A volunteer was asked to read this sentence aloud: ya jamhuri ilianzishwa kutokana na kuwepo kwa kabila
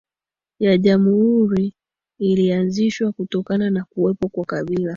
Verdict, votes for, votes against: accepted, 2, 0